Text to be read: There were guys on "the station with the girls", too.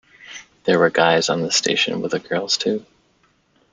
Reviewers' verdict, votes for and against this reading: accepted, 2, 0